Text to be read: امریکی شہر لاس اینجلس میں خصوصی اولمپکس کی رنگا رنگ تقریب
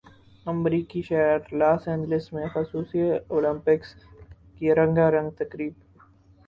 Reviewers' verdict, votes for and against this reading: accepted, 6, 2